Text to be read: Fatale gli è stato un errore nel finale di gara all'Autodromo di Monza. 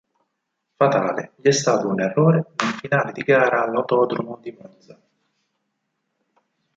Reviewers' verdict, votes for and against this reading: rejected, 2, 4